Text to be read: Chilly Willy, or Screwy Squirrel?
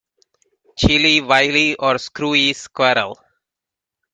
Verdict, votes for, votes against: rejected, 1, 2